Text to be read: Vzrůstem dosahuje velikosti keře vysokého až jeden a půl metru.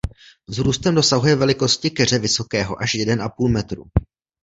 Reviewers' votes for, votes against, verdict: 2, 0, accepted